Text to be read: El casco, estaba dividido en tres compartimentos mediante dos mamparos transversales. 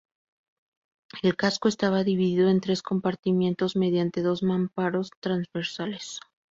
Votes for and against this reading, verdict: 0, 2, rejected